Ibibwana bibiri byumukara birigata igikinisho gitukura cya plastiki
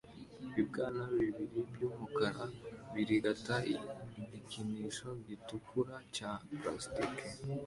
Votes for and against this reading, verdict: 2, 1, accepted